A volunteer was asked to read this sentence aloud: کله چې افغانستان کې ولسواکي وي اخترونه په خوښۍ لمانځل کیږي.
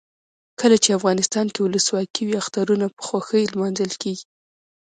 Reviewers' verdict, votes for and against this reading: accepted, 2, 0